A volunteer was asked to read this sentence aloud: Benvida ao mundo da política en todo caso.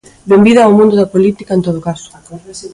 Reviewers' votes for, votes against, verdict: 2, 0, accepted